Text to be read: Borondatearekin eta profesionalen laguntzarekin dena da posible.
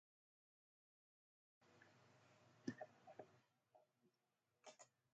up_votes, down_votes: 0, 6